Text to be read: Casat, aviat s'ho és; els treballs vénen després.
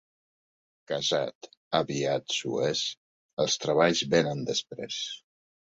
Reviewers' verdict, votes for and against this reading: accepted, 2, 0